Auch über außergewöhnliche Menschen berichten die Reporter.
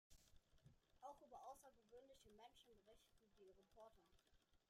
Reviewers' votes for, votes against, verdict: 1, 2, rejected